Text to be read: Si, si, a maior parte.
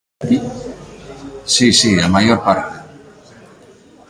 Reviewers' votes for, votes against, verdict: 1, 2, rejected